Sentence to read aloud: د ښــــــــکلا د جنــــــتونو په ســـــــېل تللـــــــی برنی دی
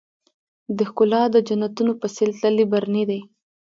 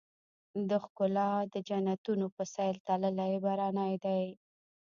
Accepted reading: first